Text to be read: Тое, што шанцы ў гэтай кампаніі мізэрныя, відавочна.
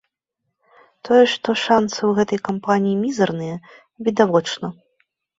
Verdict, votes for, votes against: rejected, 0, 2